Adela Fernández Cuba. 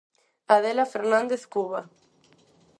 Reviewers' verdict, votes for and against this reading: accepted, 4, 0